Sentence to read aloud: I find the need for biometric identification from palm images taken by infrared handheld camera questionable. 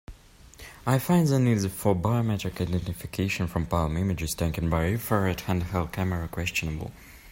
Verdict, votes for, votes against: rejected, 0, 2